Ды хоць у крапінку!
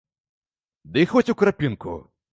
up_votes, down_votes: 0, 2